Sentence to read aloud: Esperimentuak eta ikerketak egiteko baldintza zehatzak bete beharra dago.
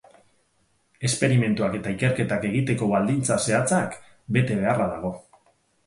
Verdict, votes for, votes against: accepted, 4, 0